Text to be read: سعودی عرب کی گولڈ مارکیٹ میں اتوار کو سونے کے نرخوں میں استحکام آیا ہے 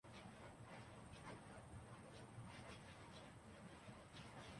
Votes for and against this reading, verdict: 0, 3, rejected